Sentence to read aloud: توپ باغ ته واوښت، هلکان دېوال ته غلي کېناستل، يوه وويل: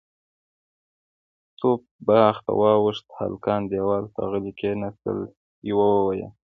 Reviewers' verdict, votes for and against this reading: accepted, 3, 0